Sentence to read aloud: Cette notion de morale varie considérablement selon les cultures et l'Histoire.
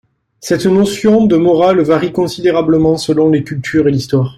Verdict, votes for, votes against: accepted, 2, 0